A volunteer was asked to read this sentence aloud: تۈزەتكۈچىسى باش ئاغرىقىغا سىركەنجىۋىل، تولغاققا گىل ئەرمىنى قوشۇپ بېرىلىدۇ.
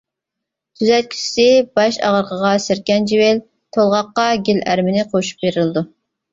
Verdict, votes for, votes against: accepted, 2, 0